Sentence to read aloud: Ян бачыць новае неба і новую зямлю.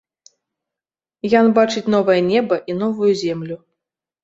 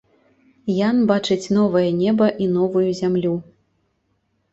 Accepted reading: second